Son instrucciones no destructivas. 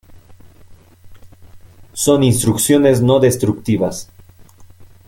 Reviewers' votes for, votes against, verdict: 1, 2, rejected